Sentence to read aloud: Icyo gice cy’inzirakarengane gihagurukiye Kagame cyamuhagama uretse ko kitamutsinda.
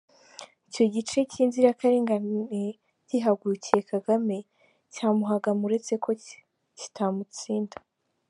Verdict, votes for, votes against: rejected, 1, 2